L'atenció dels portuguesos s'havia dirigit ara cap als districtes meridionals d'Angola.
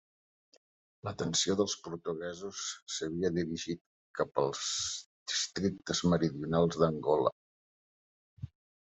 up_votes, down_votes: 0, 2